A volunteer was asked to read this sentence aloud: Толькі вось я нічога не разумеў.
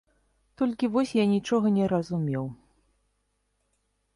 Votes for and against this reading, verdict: 2, 0, accepted